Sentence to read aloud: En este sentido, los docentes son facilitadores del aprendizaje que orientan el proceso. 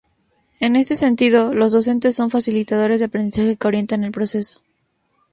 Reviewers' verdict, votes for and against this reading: accepted, 2, 0